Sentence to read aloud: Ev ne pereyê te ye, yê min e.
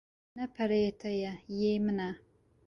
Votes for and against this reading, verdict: 1, 2, rejected